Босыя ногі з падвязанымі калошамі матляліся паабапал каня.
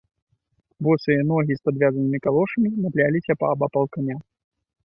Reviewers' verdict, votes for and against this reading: accepted, 2, 0